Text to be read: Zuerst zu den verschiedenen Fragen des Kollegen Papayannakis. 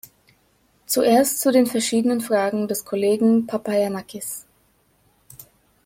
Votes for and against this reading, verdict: 2, 0, accepted